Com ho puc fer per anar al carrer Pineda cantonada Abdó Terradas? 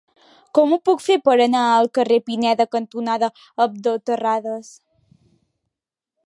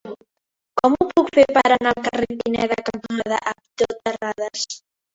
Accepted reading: first